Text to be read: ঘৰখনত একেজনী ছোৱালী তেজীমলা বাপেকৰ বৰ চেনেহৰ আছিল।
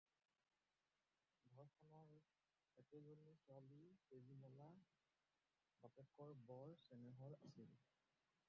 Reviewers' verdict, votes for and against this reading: rejected, 0, 4